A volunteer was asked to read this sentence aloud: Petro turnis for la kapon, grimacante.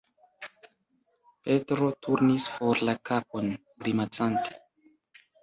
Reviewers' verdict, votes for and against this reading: rejected, 1, 2